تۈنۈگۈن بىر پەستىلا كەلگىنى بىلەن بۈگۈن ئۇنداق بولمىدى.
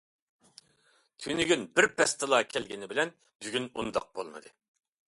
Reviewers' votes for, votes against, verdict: 2, 0, accepted